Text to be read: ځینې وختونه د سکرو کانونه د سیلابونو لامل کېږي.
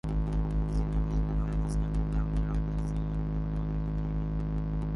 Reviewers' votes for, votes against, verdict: 0, 2, rejected